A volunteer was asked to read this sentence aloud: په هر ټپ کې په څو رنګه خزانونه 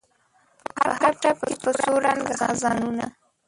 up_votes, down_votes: 1, 2